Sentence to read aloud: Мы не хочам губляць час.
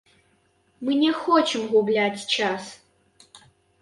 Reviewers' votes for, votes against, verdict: 1, 2, rejected